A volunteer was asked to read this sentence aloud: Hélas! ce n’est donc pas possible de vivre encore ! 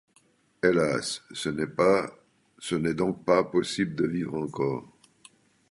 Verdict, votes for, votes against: rejected, 0, 2